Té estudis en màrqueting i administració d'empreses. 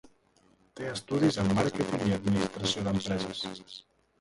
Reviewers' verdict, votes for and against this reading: rejected, 0, 2